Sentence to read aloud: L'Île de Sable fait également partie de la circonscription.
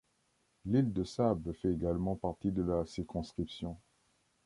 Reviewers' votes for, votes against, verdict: 1, 2, rejected